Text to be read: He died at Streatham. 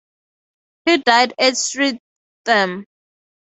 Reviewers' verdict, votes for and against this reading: rejected, 0, 2